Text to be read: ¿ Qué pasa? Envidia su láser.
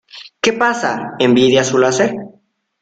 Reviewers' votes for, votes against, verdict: 2, 0, accepted